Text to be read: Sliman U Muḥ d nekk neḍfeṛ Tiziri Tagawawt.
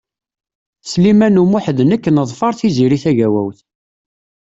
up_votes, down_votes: 2, 0